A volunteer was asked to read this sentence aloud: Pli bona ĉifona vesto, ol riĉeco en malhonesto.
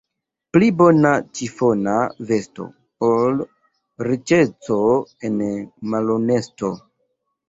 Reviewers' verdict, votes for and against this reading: accepted, 2, 0